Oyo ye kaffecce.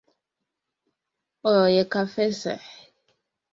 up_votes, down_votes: 0, 2